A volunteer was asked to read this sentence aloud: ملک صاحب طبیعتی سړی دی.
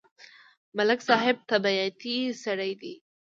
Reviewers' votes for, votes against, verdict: 2, 0, accepted